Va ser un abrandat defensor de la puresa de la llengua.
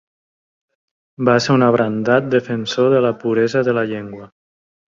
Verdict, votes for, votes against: accepted, 3, 0